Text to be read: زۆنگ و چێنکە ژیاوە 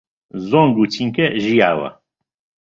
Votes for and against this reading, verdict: 0, 2, rejected